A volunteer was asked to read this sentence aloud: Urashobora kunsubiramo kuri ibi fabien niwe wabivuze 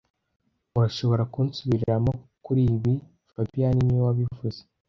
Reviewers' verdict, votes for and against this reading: rejected, 1, 2